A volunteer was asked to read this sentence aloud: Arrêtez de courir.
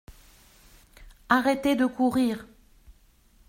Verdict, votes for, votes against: accepted, 2, 0